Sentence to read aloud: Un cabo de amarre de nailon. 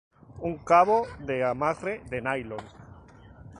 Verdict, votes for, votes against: rejected, 0, 2